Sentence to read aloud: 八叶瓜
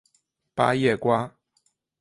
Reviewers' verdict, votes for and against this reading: accepted, 5, 0